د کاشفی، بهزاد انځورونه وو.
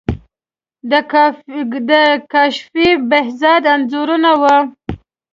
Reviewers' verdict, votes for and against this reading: rejected, 1, 2